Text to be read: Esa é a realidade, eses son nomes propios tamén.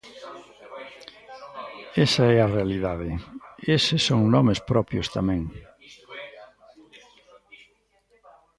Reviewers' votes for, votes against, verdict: 0, 2, rejected